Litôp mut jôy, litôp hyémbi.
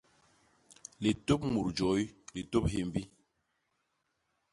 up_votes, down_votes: 2, 0